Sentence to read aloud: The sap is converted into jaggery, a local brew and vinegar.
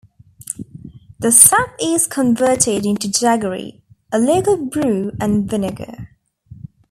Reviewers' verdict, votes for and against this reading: accepted, 2, 0